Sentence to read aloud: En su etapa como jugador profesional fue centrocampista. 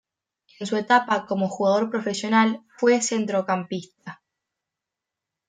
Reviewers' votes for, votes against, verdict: 2, 0, accepted